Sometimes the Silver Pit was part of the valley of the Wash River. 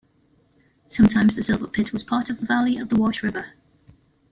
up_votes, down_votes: 2, 0